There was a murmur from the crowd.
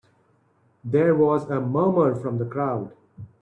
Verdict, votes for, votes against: accepted, 3, 0